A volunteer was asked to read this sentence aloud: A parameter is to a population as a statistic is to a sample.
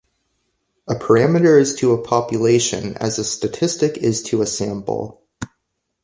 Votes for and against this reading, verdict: 2, 0, accepted